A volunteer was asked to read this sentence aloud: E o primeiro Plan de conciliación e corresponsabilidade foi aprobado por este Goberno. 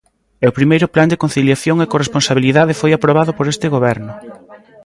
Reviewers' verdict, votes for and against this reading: accepted, 2, 0